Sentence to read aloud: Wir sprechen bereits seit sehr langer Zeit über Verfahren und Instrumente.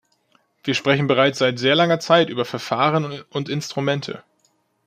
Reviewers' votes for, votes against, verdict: 1, 2, rejected